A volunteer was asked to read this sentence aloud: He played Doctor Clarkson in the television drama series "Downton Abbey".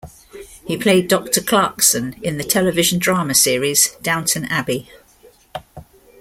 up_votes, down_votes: 2, 1